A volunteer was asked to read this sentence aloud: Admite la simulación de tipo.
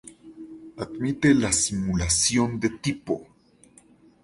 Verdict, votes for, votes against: accepted, 2, 0